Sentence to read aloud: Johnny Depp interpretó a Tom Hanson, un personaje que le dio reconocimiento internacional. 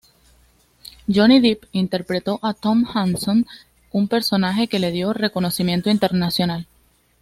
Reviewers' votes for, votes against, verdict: 2, 0, accepted